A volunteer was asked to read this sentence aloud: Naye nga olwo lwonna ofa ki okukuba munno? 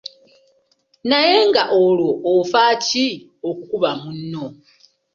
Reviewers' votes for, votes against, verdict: 1, 2, rejected